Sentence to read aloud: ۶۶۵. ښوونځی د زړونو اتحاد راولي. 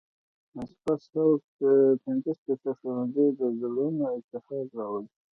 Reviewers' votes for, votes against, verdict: 0, 2, rejected